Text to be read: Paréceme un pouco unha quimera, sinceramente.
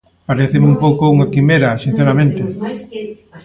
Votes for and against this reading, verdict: 2, 1, accepted